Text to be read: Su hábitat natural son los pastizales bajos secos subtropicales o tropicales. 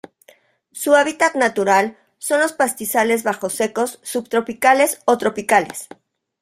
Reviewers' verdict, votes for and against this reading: accepted, 2, 0